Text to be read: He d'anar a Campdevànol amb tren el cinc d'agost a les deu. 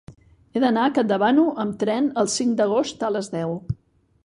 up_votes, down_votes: 2, 3